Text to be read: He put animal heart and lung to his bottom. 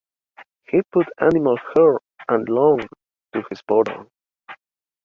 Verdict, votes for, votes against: rejected, 1, 2